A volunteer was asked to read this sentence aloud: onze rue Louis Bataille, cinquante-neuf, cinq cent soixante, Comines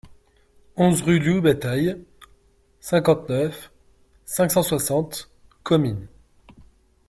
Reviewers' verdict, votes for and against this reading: rejected, 0, 2